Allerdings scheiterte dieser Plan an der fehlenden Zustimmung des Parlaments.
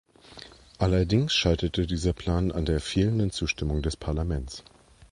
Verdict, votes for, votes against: accepted, 2, 0